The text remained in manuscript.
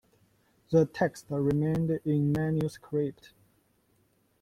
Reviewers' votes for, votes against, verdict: 2, 1, accepted